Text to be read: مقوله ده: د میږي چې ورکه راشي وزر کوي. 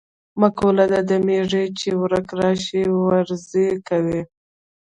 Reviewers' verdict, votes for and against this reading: rejected, 0, 2